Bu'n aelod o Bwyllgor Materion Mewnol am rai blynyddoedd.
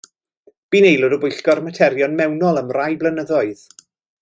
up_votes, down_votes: 2, 0